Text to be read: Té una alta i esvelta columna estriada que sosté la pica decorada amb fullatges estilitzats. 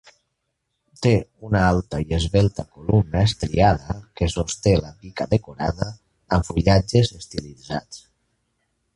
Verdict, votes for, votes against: rejected, 1, 2